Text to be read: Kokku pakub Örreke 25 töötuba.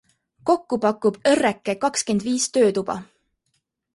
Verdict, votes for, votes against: rejected, 0, 2